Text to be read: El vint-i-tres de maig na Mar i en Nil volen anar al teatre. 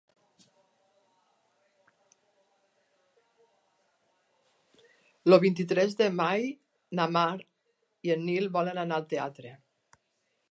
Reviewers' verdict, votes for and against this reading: rejected, 1, 4